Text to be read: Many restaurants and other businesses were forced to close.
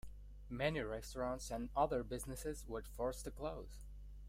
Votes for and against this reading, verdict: 1, 2, rejected